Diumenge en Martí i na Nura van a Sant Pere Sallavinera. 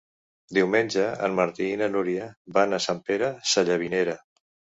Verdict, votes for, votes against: rejected, 0, 2